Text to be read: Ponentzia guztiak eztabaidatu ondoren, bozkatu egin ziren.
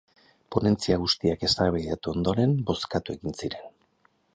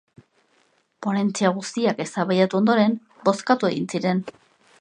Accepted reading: second